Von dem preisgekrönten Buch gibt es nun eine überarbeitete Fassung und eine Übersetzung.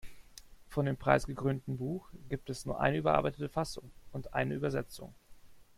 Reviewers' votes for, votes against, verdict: 2, 1, accepted